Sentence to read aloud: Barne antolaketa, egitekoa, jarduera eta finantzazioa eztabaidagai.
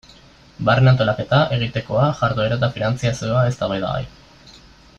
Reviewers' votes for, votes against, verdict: 1, 2, rejected